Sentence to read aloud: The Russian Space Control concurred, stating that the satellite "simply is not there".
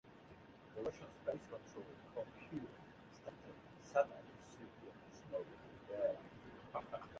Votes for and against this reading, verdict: 0, 2, rejected